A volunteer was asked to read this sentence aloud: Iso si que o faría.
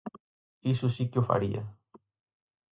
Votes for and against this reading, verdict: 4, 0, accepted